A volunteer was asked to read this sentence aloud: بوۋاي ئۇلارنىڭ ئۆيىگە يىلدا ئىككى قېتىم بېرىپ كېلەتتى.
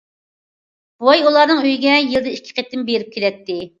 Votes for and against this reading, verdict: 2, 1, accepted